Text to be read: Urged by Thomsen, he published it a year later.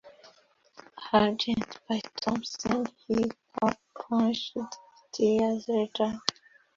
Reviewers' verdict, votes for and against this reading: rejected, 1, 2